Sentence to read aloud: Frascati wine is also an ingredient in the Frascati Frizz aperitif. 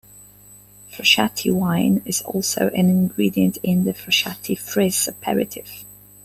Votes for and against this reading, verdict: 2, 0, accepted